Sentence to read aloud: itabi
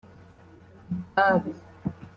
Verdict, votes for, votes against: accepted, 2, 0